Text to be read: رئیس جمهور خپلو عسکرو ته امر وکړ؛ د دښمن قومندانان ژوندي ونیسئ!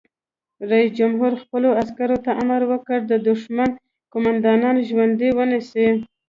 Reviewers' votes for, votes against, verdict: 2, 0, accepted